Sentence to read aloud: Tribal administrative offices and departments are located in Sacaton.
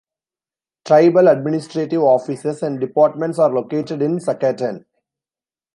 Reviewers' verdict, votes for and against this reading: accepted, 2, 0